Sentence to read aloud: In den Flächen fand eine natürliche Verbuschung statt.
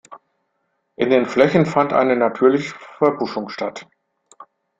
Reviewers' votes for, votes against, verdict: 0, 2, rejected